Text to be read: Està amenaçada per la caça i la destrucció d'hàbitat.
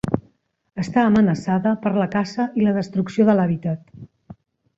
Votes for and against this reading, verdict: 4, 5, rejected